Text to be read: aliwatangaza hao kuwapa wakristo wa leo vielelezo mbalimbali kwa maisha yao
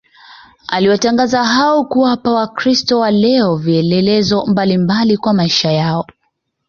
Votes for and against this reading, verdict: 2, 0, accepted